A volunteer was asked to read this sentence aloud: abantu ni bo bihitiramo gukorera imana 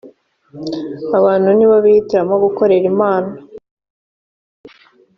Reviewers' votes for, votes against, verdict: 2, 0, accepted